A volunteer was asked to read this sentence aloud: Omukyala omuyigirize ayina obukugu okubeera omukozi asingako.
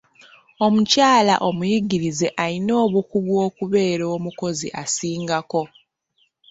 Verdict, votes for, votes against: accepted, 2, 0